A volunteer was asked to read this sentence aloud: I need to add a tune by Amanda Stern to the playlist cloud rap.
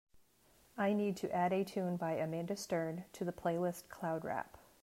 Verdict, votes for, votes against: accepted, 2, 1